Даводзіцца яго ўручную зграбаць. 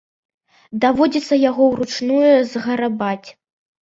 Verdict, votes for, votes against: accepted, 2, 1